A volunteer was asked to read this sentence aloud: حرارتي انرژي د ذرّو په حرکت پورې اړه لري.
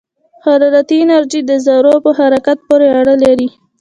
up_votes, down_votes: 2, 1